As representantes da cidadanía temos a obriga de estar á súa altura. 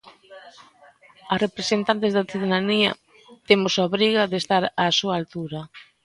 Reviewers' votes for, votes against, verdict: 2, 0, accepted